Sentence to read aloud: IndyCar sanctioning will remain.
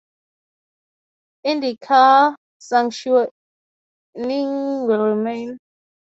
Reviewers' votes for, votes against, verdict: 0, 3, rejected